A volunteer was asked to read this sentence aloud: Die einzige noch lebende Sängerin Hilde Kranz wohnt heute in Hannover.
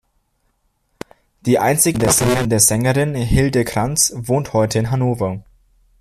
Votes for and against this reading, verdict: 1, 2, rejected